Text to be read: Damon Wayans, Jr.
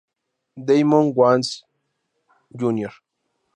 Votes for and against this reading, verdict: 2, 4, rejected